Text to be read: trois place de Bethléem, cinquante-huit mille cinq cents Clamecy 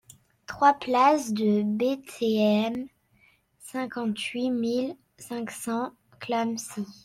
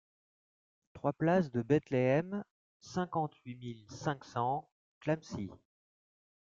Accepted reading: second